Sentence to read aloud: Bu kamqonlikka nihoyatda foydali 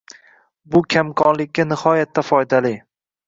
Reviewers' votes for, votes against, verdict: 2, 0, accepted